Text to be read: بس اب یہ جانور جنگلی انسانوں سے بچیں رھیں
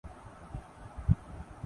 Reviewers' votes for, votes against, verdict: 0, 3, rejected